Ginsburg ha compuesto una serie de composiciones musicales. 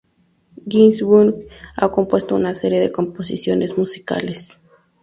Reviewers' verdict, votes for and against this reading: accepted, 2, 0